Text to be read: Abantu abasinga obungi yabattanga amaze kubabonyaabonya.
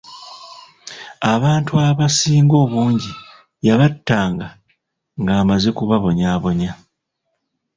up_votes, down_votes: 1, 2